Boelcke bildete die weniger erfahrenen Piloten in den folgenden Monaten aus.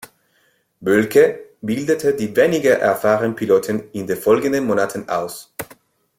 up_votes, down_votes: 1, 2